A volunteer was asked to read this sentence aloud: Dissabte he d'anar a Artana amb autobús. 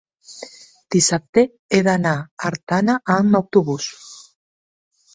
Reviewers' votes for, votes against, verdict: 0, 2, rejected